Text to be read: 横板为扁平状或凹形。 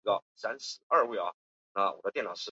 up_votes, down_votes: 1, 3